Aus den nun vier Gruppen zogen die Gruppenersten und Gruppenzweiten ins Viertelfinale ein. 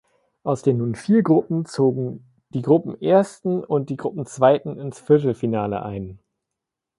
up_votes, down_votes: 0, 2